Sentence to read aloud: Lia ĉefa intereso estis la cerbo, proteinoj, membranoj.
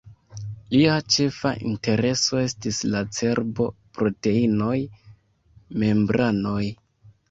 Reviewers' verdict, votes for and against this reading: rejected, 0, 2